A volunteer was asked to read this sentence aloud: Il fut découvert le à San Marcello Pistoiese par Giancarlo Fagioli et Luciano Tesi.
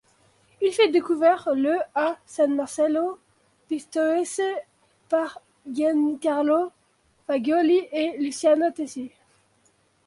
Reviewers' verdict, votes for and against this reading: accepted, 2, 0